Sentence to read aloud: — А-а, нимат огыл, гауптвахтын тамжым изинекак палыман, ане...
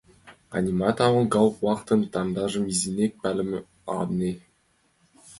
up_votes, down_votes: 2, 1